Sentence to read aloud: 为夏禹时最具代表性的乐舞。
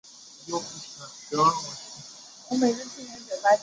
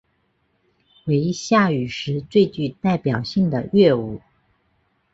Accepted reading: second